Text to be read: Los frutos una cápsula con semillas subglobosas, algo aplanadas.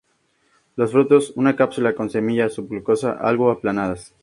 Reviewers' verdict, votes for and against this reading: accepted, 2, 0